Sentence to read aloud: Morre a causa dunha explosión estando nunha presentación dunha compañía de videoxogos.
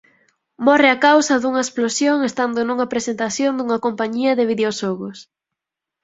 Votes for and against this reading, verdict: 4, 2, accepted